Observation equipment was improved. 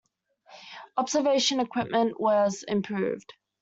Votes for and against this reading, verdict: 2, 0, accepted